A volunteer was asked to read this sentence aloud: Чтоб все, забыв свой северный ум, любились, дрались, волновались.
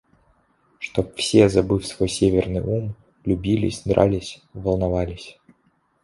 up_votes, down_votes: 2, 0